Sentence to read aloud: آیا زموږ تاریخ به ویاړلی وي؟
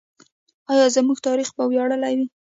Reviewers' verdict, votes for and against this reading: accepted, 2, 0